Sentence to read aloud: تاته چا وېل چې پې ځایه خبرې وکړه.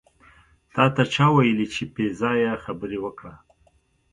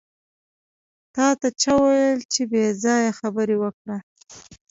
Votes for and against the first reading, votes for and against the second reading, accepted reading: 2, 0, 1, 2, first